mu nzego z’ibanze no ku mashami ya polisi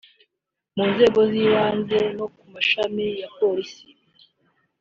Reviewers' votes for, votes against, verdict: 2, 0, accepted